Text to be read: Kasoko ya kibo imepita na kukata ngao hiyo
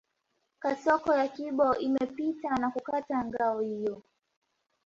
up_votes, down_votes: 2, 1